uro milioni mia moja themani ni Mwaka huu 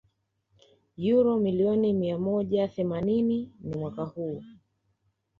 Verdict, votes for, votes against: accepted, 3, 0